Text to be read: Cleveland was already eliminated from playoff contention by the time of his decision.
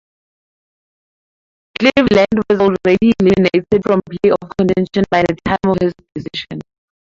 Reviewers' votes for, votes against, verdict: 0, 4, rejected